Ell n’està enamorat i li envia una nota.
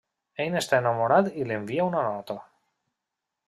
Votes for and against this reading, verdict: 3, 0, accepted